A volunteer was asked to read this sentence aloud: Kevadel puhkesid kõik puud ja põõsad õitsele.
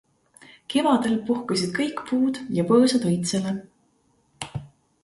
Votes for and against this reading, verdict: 2, 0, accepted